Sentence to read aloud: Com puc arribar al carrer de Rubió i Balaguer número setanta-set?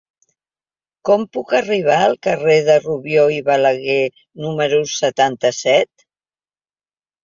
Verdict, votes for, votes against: accepted, 3, 0